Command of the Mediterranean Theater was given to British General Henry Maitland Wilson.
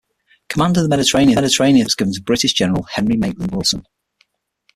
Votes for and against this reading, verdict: 0, 6, rejected